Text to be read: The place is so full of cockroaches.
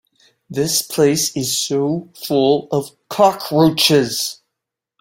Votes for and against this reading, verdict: 0, 2, rejected